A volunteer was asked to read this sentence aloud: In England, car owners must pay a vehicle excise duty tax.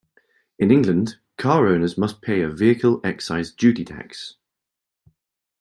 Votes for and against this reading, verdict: 2, 0, accepted